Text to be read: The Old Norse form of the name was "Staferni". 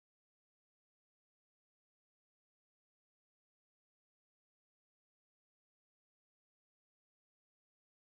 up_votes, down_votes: 0, 4